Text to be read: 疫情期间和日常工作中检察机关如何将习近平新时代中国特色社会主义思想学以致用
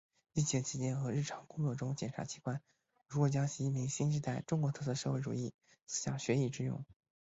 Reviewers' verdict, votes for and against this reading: accepted, 3, 1